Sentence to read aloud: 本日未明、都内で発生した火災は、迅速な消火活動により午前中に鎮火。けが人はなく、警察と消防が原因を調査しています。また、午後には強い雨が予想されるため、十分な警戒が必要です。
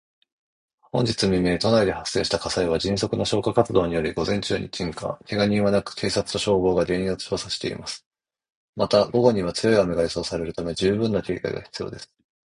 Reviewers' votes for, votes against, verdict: 2, 0, accepted